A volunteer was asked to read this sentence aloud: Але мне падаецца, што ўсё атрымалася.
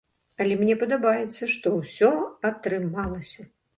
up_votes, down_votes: 1, 2